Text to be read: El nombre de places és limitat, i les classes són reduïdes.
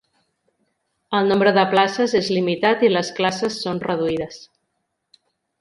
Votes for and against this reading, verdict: 2, 0, accepted